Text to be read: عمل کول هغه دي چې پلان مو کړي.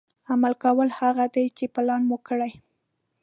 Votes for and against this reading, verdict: 1, 2, rejected